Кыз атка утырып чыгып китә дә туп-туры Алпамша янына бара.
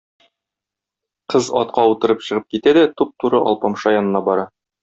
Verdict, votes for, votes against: accepted, 2, 0